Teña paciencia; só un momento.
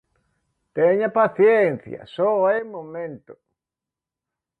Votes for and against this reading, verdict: 0, 2, rejected